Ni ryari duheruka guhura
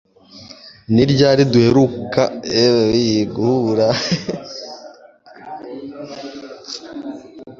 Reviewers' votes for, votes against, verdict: 1, 2, rejected